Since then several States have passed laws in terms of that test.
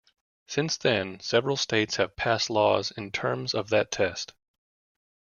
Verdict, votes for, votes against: accepted, 2, 1